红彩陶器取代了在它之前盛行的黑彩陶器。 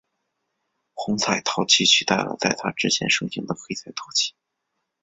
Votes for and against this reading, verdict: 2, 0, accepted